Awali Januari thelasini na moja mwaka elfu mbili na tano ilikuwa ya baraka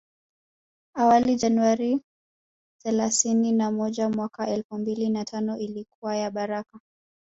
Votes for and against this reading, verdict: 1, 2, rejected